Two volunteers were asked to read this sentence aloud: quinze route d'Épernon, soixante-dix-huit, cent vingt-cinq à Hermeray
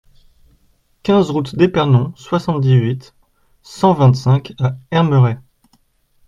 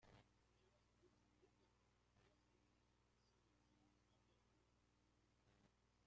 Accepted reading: first